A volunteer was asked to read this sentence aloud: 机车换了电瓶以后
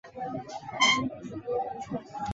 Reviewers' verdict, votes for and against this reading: rejected, 1, 3